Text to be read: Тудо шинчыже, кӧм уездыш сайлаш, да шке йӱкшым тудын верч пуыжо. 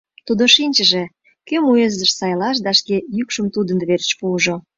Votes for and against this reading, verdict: 2, 0, accepted